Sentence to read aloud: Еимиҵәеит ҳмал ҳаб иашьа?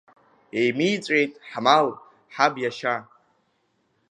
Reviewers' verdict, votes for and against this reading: rejected, 1, 2